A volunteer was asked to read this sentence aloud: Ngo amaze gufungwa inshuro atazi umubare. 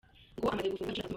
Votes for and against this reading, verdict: 0, 2, rejected